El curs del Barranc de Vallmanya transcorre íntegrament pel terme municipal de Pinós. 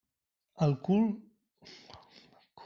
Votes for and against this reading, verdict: 0, 2, rejected